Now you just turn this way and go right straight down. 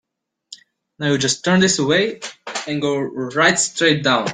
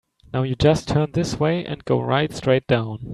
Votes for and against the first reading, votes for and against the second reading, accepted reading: 0, 2, 3, 0, second